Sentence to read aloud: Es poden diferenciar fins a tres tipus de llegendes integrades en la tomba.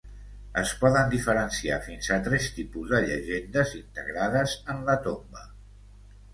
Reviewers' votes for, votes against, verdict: 2, 0, accepted